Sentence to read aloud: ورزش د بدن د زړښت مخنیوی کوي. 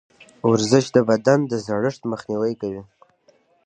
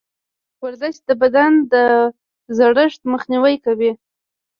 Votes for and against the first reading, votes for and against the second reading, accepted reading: 2, 0, 0, 2, first